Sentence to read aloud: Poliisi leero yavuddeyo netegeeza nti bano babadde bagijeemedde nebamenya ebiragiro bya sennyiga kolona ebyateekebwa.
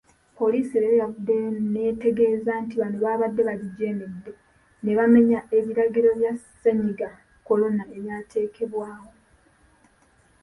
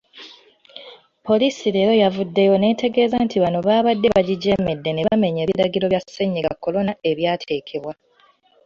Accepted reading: second